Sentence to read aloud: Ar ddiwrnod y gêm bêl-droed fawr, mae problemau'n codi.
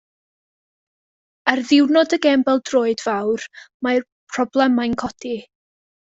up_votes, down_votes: 2, 0